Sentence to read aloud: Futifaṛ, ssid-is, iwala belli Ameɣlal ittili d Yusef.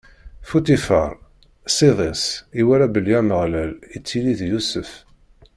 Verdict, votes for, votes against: rejected, 0, 2